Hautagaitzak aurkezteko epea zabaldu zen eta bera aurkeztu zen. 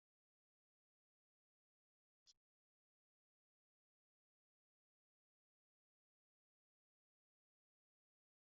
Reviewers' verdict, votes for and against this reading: rejected, 0, 2